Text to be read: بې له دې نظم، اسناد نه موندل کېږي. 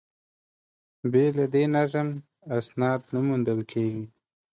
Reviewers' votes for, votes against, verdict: 2, 0, accepted